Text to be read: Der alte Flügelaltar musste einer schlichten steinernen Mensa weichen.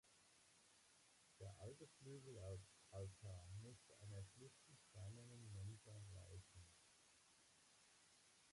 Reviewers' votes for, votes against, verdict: 0, 2, rejected